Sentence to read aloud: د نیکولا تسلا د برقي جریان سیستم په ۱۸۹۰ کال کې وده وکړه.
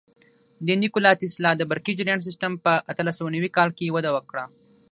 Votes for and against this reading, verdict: 0, 2, rejected